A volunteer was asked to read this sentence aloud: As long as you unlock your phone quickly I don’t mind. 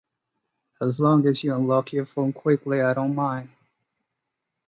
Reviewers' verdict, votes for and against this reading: accepted, 2, 0